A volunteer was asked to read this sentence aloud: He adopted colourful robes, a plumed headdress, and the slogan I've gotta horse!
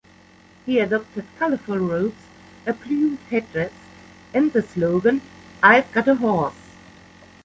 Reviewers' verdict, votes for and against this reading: rejected, 0, 2